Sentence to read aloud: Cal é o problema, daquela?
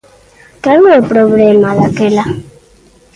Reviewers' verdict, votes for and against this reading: rejected, 1, 2